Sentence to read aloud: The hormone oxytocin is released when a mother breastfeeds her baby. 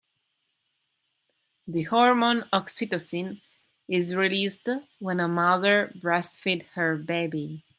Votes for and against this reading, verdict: 0, 2, rejected